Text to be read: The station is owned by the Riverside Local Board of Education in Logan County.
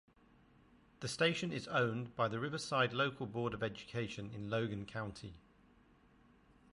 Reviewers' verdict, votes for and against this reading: accepted, 2, 0